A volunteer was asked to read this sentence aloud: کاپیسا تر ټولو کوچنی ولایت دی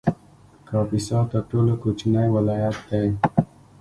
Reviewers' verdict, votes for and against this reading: accepted, 2, 0